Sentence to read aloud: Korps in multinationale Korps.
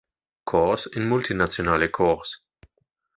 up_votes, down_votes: 2, 1